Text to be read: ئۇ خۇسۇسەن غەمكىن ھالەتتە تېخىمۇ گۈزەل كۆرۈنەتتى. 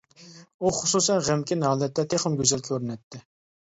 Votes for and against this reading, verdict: 2, 1, accepted